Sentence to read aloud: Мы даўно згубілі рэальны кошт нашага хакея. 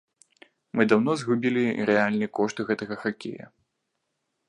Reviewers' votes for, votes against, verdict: 1, 2, rejected